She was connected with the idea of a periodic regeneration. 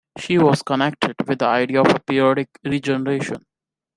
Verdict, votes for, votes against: accepted, 2, 0